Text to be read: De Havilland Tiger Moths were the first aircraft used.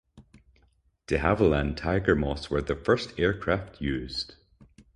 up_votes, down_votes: 2, 0